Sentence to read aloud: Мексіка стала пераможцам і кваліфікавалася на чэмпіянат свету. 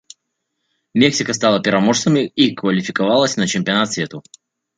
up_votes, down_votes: 0, 2